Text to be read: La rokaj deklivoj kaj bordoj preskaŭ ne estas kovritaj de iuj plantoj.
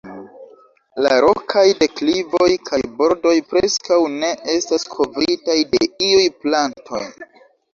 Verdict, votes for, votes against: accepted, 2, 1